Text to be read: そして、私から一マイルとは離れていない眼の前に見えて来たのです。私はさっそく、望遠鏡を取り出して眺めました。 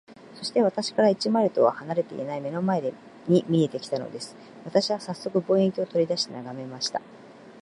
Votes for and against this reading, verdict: 3, 1, accepted